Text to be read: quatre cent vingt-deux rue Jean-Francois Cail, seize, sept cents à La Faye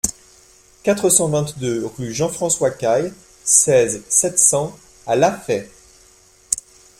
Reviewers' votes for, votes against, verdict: 2, 0, accepted